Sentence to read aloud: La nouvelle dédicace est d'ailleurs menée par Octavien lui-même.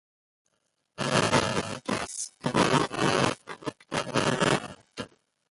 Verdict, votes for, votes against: rejected, 0, 2